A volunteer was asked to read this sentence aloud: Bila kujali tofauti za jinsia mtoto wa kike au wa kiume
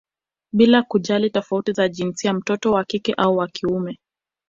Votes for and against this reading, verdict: 2, 0, accepted